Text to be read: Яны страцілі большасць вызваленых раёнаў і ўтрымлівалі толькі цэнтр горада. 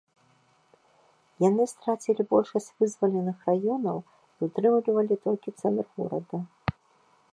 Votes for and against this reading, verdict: 1, 2, rejected